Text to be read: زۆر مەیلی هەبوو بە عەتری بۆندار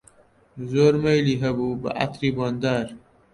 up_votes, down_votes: 2, 0